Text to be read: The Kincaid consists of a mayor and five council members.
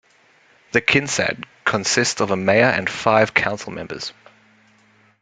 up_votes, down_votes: 0, 2